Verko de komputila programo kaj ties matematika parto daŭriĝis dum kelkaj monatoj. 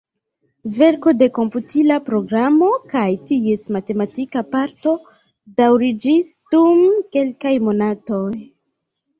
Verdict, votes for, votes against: accepted, 2, 1